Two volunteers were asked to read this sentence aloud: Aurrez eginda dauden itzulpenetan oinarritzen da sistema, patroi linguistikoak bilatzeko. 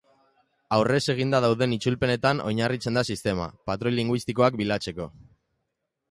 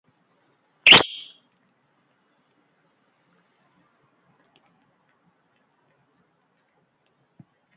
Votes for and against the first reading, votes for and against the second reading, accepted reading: 2, 0, 0, 2, first